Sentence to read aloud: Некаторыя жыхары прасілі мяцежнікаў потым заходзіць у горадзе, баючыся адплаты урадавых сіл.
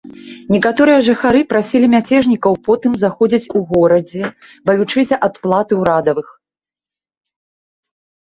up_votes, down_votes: 0, 2